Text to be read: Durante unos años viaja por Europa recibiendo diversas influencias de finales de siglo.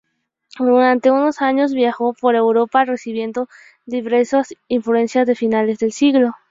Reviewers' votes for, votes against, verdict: 0, 2, rejected